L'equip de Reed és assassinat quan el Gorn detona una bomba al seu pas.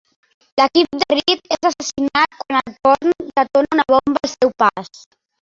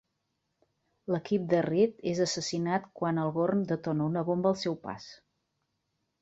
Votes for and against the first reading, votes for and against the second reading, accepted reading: 1, 2, 2, 0, second